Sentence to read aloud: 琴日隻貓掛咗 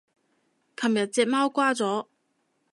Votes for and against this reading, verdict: 0, 2, rejected